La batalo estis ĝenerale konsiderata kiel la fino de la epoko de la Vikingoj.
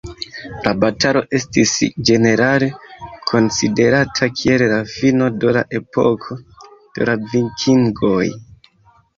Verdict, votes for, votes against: rejected, 0, 2